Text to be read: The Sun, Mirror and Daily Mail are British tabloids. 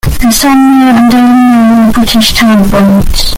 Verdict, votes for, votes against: rejected, 0, 2